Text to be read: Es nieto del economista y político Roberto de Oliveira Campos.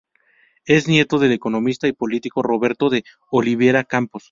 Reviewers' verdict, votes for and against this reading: rejected, 0, 2